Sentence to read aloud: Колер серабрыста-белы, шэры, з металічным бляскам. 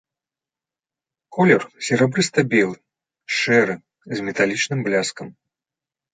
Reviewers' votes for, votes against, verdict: 2, 0, accepted